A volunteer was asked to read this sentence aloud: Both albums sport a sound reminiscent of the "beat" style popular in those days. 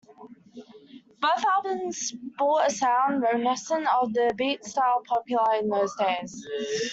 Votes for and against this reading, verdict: 0, 2, rejected